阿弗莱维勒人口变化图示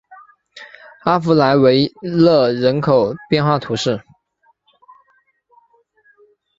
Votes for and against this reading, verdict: 3, 0, accepted